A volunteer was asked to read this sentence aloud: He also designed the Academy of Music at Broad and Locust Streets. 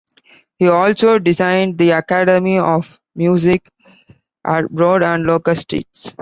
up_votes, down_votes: 2, 0